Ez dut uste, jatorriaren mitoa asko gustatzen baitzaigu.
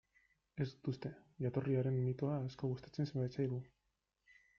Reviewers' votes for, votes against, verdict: 1, 2, rejected